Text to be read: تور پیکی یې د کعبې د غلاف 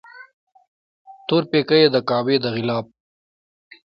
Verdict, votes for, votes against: rejected, 0, 2